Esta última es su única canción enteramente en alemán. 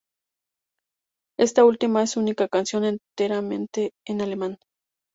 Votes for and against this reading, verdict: 2, 0, accepted